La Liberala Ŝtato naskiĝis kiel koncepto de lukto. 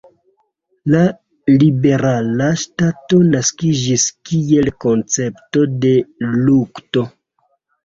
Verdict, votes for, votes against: accepted, 2, 0